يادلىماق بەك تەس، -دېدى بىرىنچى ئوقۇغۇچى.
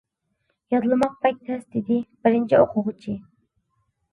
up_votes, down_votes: 2, 0